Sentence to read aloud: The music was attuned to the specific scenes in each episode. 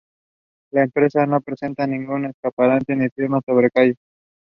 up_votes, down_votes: 0, 2